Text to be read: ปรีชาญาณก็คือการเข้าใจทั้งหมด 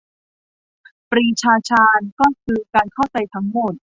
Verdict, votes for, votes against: rejected, 0, 2